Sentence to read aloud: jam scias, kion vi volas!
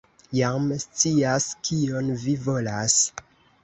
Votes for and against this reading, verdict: 1, 2, rejected